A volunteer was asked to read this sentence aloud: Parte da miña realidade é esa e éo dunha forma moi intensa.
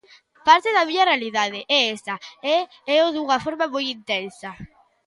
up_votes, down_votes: 2, 0